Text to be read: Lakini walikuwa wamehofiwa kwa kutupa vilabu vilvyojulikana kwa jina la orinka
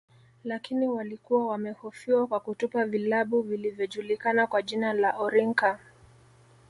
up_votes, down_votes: 2, 0